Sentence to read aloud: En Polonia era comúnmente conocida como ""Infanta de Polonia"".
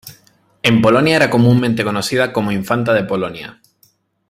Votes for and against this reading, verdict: 3, 0, accepted